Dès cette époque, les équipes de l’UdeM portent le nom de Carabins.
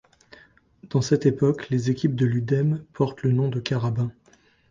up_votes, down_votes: 1, 2